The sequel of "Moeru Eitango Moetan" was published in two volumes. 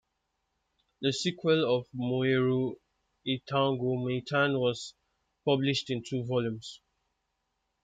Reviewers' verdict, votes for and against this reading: accepted, 2, 0